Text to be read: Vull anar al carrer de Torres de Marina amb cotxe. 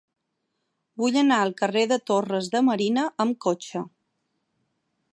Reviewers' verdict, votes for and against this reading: accepted, 8, 0